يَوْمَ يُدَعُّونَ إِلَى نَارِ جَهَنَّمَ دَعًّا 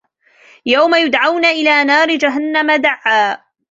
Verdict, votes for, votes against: accepted, 2, 1